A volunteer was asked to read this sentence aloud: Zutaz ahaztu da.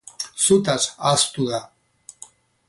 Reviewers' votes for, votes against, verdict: 2, 0, accepted